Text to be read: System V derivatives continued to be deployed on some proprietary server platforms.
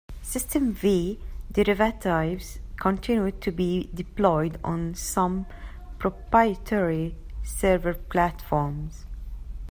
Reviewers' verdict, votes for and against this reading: accepted, 2, 0